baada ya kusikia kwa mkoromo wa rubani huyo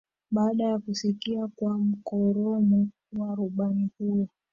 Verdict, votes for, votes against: rejected, 0, 2